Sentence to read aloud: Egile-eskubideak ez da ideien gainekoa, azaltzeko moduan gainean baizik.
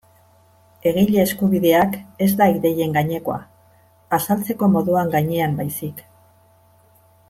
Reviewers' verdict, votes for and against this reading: accepted, 2, 0